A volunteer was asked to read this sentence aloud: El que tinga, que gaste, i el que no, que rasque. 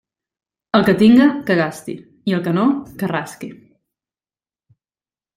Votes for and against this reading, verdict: 2, 1, accepted